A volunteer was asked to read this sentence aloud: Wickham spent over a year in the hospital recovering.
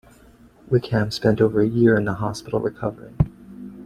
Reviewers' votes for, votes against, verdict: 0, 2, rejected